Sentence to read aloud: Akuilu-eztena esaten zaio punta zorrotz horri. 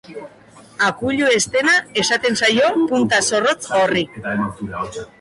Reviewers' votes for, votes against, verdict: 2, 0, accepted